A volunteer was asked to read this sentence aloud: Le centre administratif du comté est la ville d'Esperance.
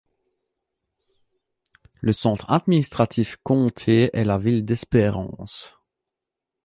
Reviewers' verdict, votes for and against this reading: rejected, 0, 2